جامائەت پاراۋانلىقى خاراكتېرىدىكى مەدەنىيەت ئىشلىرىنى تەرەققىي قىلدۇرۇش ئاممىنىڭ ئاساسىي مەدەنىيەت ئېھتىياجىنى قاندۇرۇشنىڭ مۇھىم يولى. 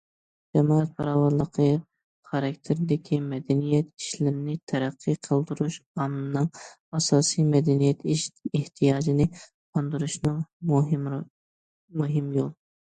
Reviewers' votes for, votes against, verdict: 1, 2, rejected